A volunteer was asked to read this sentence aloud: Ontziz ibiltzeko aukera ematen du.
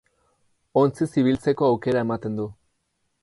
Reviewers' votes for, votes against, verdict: 6, 0, accepted